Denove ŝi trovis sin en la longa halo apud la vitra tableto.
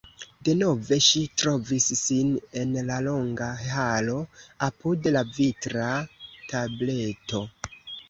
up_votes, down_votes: 2, 0